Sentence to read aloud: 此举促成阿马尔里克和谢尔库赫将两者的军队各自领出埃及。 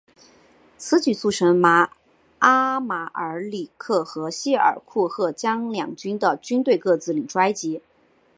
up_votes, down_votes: 2, 2